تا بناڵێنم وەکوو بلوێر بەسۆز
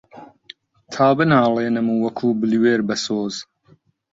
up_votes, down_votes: 2, 0